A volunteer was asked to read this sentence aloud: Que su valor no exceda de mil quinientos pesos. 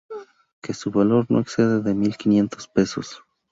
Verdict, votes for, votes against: rejected, 2, 2